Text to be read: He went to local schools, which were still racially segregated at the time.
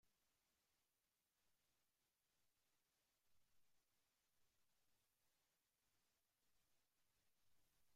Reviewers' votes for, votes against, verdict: 0, 2, rejected